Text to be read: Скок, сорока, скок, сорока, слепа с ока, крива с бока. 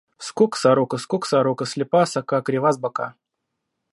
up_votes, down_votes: 2, 0